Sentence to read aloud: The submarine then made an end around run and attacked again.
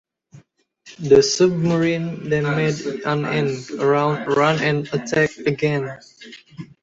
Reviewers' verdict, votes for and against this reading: rejected, 0, 2